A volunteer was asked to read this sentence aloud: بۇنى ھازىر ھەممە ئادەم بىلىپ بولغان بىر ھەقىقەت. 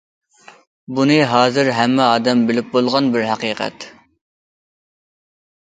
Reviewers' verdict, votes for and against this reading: accepted, 2, 0